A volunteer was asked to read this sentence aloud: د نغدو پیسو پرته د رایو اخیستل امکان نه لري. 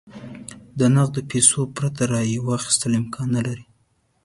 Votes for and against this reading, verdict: 1, 2, rejected